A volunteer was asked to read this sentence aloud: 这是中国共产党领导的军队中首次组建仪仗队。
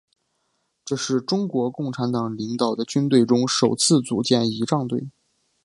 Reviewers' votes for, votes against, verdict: 3, 0, accepted